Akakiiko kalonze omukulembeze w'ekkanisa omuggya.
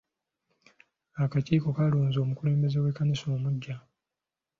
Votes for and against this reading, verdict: 2, 1, accepted